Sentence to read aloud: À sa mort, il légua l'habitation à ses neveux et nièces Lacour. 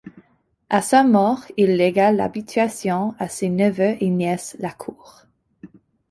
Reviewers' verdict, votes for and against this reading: rejected, 0, 2